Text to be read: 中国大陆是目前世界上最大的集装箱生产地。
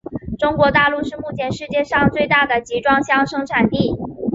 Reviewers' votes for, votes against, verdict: 3, 0, accepted